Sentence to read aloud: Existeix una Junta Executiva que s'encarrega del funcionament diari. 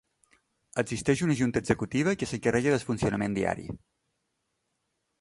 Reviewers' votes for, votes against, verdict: 1, 2, rejected